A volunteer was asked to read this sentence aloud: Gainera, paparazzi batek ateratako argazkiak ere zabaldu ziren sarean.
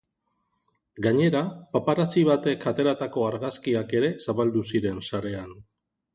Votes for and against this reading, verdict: 2, 0, accepted